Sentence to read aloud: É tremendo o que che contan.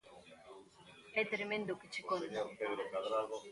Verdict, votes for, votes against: rejected, 0, 2